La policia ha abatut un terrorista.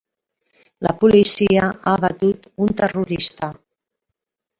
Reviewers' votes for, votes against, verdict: 1, 2, rejected